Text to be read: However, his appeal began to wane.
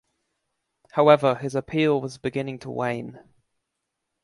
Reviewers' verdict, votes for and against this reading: rejected, 2, 3